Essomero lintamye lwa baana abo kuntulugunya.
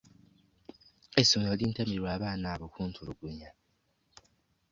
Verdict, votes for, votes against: accepted, 2, 1